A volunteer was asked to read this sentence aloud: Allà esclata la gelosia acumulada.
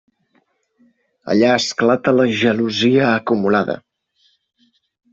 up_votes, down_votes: 3, 0